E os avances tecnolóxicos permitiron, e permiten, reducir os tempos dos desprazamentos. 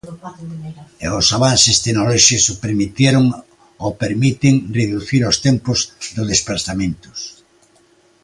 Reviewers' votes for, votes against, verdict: 0, 2, rejected